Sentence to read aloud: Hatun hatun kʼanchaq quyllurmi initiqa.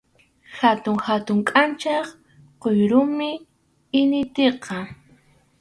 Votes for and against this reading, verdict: 2, 2, rejected